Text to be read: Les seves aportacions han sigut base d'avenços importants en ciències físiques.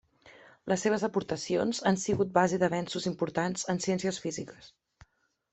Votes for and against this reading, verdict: 2, 0, accepted